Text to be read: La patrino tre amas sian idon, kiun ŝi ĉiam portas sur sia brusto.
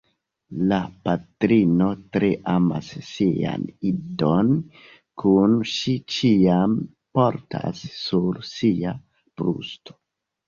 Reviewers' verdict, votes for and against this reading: rejected, 1, 2